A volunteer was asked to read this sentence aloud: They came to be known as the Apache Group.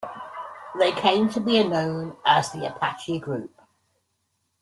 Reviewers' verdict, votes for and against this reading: accepted, 2, 0